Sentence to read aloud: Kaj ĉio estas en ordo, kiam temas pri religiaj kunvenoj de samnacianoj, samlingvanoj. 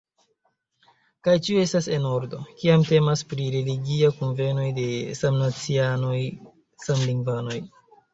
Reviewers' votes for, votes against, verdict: 3, 2, accepted